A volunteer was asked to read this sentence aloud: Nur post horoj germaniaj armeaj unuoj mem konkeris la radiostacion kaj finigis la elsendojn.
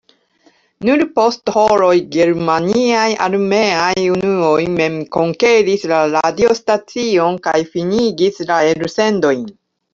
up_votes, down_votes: 2, 1